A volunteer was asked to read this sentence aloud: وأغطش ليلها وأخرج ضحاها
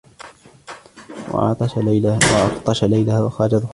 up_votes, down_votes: 1, 2